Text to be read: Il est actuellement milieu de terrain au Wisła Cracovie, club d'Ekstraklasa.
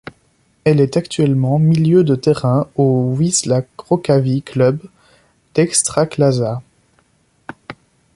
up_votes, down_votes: 1, 2